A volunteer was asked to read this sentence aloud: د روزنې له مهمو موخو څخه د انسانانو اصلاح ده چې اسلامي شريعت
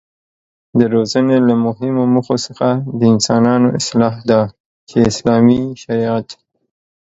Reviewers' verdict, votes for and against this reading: accepted, 2, 0